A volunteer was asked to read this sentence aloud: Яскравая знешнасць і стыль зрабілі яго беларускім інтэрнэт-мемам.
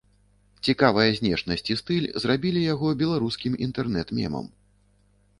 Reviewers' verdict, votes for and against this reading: rejected, 0, 2